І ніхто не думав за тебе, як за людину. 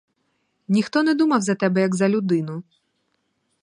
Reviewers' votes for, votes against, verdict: 2, 4, rejected